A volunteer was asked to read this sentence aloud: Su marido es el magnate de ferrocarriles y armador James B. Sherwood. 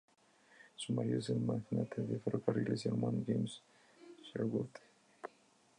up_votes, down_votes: 0, 2